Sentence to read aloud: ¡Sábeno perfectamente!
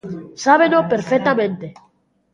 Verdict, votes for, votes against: rejected, 0, 2